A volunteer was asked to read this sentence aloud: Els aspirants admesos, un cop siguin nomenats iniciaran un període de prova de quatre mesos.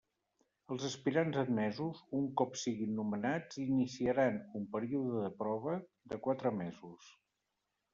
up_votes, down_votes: 1, 2